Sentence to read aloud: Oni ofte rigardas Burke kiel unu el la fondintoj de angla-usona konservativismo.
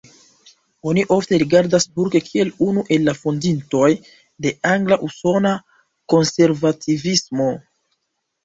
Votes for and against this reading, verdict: 3, 0, accepted